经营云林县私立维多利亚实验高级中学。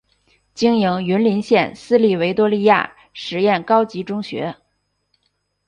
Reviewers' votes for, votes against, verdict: 6, 0, accepted